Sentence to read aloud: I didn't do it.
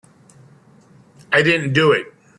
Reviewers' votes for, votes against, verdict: 2, 0, accepted